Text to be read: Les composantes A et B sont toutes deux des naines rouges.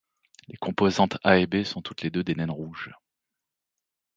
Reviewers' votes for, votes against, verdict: 1, 2, rejected